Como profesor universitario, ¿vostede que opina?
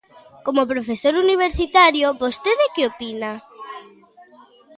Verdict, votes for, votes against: accepted, 4, 0